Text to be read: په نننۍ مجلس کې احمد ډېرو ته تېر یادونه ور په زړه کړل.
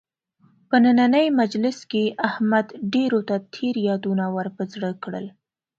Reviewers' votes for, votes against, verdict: 2, 0, accepted